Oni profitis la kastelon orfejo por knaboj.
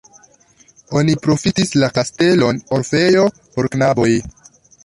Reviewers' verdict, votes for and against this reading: accepted, 2, 1